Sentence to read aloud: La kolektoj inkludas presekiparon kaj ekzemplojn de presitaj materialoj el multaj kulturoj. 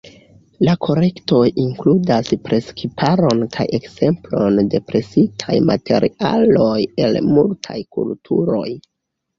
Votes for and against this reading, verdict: 1, 2, rejected